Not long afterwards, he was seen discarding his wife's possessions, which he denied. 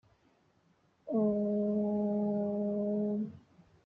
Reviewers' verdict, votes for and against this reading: rejected, 0, 2